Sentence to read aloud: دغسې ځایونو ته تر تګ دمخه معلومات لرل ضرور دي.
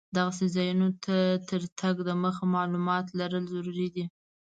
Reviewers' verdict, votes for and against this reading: accepted, 2, 0